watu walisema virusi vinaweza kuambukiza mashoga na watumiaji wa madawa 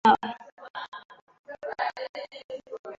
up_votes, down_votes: 0, 2